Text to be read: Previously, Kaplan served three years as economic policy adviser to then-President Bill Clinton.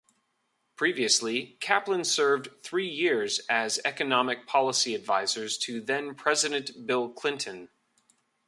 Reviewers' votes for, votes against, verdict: 2, 3, rejected